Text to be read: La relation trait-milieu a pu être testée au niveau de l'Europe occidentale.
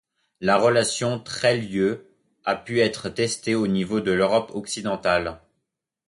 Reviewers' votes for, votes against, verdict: 0, 2, rejected